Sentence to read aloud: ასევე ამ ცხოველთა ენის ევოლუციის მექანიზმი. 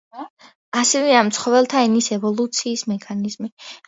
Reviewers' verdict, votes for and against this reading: accepted, 2, 0